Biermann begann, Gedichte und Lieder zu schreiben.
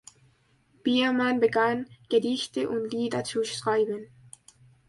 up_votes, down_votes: 2, 1